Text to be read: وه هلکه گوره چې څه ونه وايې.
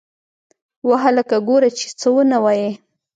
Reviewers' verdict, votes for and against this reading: accepted, 2, 0